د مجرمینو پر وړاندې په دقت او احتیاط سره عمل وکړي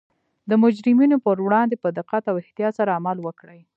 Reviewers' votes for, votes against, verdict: 2, 0, accepted